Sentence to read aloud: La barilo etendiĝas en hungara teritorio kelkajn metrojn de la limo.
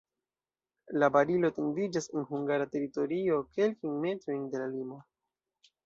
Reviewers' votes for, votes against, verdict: 2, 0, accepted